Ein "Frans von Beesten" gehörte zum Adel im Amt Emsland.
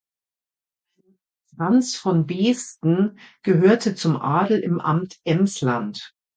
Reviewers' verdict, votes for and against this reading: rejected, 1, 2